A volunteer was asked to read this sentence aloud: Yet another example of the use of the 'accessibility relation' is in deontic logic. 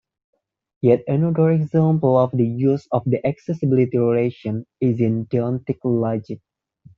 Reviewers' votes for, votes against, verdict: 2, 0, accepted